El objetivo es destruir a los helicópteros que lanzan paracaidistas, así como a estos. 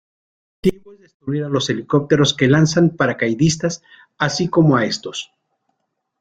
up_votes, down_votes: 1, 2